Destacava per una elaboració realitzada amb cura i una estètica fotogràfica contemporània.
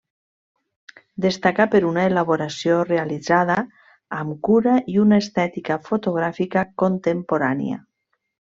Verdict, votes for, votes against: rejected, 0, 2